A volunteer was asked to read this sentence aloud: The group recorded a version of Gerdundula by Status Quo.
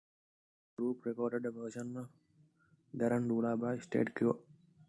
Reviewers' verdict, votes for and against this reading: rejected, 0, 2